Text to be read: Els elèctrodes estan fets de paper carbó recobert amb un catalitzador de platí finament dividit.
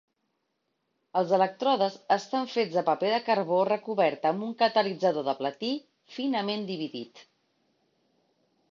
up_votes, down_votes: 0, 2